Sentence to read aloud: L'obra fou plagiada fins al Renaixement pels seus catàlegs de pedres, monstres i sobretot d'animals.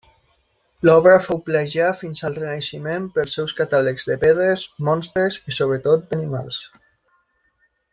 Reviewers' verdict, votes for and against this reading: accepted, 2, 0